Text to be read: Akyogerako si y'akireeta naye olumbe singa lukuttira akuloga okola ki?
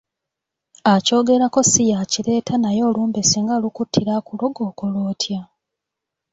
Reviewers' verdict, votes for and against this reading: rejected, 1, 2